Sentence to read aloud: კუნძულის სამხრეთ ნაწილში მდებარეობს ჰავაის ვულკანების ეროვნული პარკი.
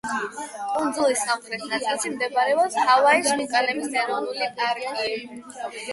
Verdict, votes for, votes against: rejected, 4, 8